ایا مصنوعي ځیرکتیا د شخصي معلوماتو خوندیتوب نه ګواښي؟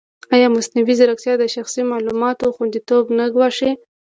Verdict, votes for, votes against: rejected, 1, 2